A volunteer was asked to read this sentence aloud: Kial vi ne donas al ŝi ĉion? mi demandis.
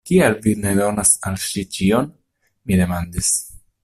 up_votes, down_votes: 2, 0